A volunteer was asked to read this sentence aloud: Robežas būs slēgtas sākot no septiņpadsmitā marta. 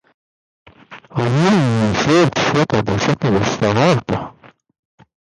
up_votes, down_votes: 0, 2